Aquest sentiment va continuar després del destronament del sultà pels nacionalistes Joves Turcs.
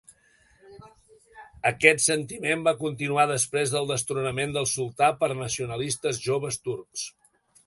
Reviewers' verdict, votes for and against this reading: accepted, 2, 0